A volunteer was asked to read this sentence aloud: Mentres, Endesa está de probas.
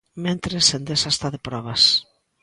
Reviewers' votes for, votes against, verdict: 2, 0, accepted